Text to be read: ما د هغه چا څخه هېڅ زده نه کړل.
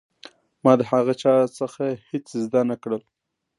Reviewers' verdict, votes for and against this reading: accepted, 2, 0